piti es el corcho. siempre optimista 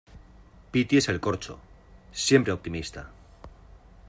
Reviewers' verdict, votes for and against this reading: accepted, 2, 0